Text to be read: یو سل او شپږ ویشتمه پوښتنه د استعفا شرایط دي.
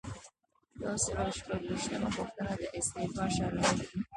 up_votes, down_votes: 1, 2